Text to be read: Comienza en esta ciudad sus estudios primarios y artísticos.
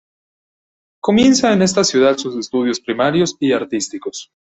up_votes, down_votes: 2, 0